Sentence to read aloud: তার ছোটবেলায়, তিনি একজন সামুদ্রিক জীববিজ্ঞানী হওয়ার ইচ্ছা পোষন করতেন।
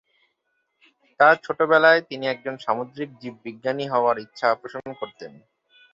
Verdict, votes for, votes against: accepted, 10, 0